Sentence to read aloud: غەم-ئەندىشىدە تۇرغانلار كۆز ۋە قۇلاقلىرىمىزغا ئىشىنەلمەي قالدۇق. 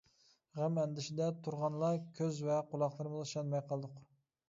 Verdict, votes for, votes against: rejected, 0, 2